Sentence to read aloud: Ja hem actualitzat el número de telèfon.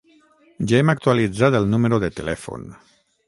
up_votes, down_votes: 3, 3